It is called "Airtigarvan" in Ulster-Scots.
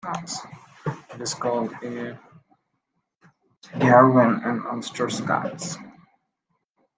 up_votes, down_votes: 0, 2